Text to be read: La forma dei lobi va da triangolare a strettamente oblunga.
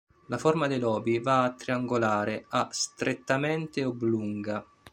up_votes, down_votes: 1, 2